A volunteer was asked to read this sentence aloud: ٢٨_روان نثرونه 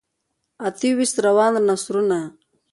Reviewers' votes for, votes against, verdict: 0, 2, rejected